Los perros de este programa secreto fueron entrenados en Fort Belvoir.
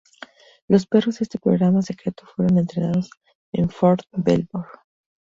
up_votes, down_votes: 2, 2